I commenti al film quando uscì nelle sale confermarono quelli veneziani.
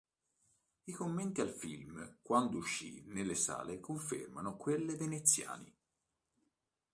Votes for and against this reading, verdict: 1, 2, rejected